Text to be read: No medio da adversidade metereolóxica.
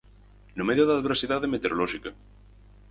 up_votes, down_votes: 6, 0